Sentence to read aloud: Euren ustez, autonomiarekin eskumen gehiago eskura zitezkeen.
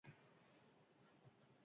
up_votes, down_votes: 0, 4